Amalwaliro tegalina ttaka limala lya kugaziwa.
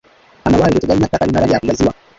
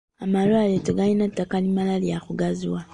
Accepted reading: second